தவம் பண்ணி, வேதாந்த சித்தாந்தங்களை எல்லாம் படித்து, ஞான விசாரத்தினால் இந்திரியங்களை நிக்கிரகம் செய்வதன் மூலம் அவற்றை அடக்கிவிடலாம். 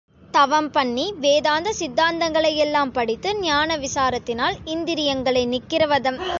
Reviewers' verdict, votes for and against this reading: rejected, 0, 2